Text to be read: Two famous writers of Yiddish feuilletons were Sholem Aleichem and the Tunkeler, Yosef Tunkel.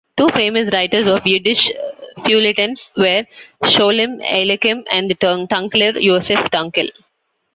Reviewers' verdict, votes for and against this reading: rejected, 1, 2